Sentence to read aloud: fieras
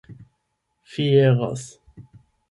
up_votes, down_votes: 0, 8